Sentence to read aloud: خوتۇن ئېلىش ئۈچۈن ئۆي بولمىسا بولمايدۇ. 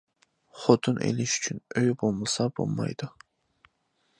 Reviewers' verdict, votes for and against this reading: accepted, 2, 0